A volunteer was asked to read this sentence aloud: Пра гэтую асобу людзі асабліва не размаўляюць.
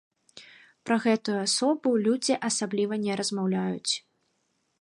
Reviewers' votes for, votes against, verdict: 2, 0, accepted